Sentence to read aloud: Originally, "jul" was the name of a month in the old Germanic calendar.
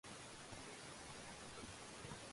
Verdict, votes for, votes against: rejected, 0, 2